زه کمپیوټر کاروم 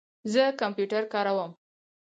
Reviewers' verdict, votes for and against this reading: accepted, 4, 2